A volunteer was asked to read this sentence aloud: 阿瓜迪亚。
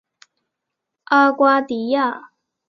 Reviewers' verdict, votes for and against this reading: accepted, 2, 0